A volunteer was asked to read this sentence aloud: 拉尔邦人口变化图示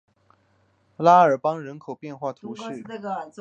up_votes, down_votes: 2, 0